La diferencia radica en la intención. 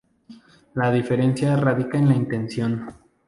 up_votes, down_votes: 2, 0